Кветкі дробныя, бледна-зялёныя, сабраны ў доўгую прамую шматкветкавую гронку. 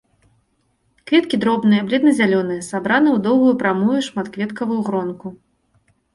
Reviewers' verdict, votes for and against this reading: accepted, 3, 0